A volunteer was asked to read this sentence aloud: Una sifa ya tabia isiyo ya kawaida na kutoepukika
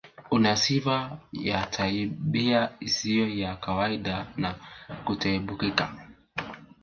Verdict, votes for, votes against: rejected, 0, 5